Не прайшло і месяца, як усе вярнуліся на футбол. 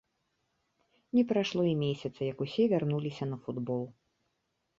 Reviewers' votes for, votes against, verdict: 0, 2, rejected